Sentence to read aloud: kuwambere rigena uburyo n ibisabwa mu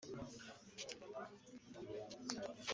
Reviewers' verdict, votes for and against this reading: rejected, 0, 2